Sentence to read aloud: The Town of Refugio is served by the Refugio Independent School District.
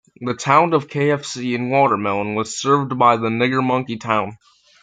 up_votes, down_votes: 0, 2